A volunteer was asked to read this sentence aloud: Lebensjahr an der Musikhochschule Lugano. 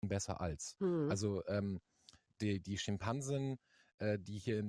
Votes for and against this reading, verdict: 0, 2, rejected